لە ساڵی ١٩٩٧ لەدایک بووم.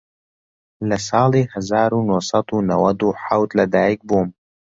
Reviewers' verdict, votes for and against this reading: rejected, 0, 2